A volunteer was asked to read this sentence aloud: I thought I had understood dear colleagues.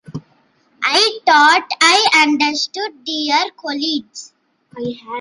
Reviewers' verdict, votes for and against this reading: rejected, 1, 2